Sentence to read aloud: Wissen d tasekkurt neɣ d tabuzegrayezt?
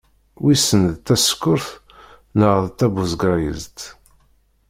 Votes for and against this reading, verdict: 2, 0, accepted